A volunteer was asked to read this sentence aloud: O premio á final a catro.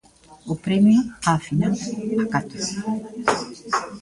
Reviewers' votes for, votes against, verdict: 1, 2, rejected